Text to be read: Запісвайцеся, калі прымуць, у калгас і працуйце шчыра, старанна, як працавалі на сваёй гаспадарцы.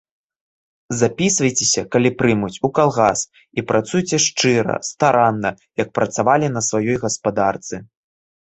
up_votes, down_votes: 2, 0